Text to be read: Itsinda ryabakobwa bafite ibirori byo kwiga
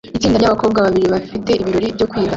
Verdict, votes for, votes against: rejected, 0, 2